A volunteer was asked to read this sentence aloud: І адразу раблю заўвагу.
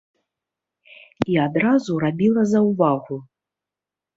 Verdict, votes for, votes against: rejected, 0, 2